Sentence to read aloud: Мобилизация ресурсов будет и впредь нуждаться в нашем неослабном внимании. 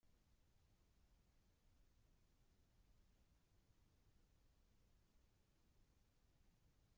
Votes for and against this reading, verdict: 0, 2, rejected